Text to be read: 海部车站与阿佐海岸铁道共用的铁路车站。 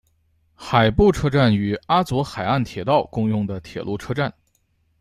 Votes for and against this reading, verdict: 2, 0, accepted